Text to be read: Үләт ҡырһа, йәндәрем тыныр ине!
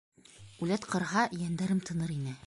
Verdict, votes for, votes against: accepted, 2, 0